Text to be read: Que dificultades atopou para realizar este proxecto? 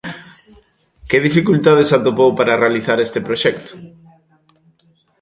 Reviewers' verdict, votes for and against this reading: accepted, 2, 0